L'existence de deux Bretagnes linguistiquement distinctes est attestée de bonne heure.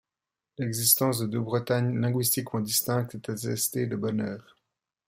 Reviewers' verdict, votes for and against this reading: accepted, 2, 0